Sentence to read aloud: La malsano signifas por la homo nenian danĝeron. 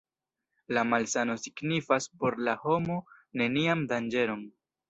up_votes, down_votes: 2, 0